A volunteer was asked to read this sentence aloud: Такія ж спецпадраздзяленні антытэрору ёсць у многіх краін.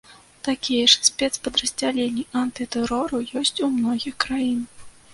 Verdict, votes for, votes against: accepted, 2, 0